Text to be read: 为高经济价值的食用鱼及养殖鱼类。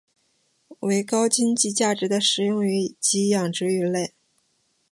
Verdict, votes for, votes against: accepted, 6, 0